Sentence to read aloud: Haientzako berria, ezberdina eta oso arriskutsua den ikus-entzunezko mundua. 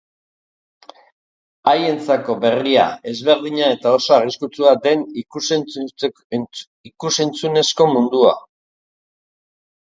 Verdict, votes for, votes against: accepted, 2, 0